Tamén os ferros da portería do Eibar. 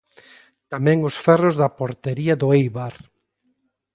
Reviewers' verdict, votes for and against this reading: accepted, 2, 0